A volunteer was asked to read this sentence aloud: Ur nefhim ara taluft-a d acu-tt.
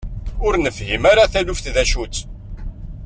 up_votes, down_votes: 1, 2